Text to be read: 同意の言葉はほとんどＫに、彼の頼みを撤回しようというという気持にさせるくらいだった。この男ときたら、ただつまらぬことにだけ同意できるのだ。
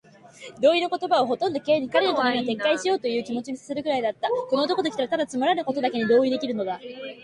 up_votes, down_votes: 2, 0